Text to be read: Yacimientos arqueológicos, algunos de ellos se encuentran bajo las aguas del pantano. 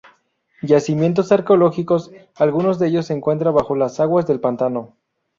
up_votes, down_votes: 0, 2